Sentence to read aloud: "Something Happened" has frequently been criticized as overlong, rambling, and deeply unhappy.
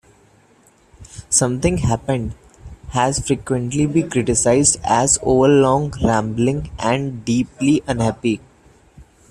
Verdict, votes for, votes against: accepted, 2, 1